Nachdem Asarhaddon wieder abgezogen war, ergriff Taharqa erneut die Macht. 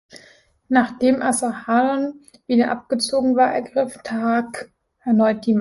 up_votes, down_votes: 0, 2